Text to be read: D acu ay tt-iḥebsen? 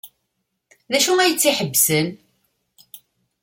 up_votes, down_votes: 2, 0